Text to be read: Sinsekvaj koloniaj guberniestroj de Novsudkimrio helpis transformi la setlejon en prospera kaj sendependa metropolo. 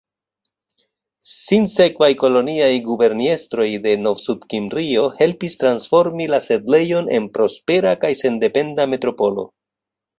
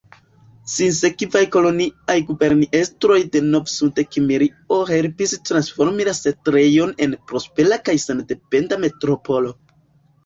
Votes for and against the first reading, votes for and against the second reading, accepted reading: 2, 0, 0, 2, first